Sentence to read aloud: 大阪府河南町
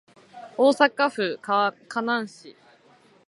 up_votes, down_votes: 1, 2